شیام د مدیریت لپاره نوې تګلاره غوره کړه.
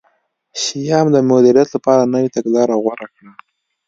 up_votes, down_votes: 2, 1